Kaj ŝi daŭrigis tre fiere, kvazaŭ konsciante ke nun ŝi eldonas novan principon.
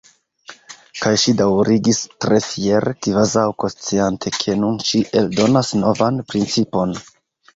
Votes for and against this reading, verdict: 2, 0, accepted